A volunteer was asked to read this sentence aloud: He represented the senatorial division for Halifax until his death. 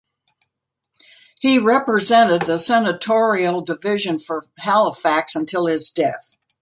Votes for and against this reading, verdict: 2, 0, accepted